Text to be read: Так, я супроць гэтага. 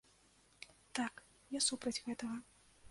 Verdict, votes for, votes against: rejected, 0, 2